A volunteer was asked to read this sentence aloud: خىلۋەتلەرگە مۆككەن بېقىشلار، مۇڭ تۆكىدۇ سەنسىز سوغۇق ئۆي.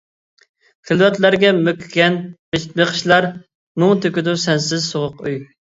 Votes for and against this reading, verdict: 1, 2, rejected